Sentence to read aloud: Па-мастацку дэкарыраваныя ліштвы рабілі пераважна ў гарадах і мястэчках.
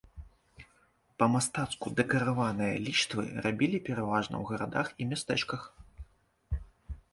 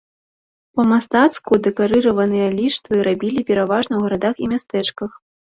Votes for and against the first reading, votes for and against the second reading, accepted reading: 1, 2, 2, 0, second